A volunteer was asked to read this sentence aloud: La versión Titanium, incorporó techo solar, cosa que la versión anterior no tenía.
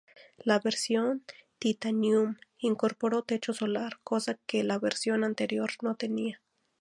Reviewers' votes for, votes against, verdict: 2, 0, accepted